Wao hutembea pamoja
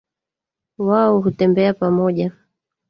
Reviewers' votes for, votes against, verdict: 1, 2, rejected